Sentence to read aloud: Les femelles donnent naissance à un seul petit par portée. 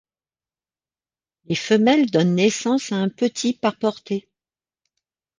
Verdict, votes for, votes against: rejected, 0, 2